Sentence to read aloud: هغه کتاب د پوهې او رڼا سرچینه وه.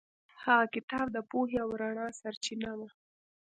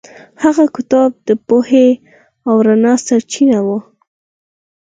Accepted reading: second